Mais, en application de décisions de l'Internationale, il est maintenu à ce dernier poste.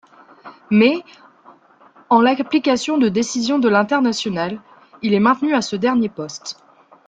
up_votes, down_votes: 1, 2